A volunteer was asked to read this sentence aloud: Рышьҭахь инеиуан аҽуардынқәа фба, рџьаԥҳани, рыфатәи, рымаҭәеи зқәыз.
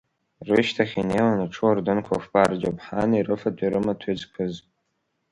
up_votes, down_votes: 3, 0